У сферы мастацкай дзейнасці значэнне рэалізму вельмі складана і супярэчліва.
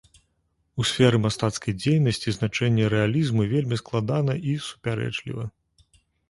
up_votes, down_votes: 2, 0